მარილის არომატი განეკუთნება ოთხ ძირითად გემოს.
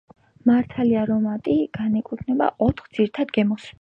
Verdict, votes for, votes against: rejected, 1, 4